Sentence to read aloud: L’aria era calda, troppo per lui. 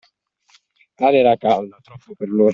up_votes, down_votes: 1, 2